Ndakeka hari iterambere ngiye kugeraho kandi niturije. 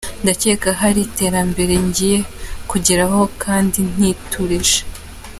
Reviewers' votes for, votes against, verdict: 2, 0, accepted